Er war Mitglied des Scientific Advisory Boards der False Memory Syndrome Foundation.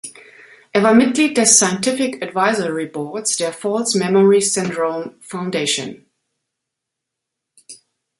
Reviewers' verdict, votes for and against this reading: accepted, 2, 0